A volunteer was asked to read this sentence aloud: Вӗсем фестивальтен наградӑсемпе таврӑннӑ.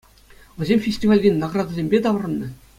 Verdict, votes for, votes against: accepted, 2, 0